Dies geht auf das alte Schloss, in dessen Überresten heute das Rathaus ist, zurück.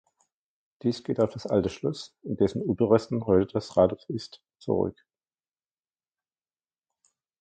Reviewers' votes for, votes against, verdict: 2, 1, accepted